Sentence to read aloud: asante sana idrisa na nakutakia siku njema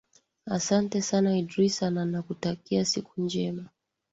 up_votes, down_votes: 2, 0